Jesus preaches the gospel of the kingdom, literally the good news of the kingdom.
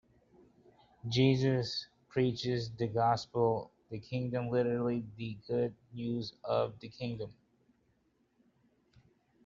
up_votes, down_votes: 2, 0